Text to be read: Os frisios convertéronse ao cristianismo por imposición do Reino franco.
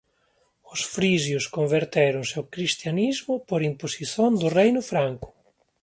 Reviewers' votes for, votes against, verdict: 1, 2, rejected